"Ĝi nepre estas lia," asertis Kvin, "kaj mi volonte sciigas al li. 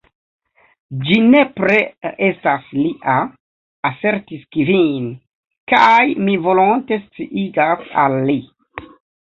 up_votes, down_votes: 2, 1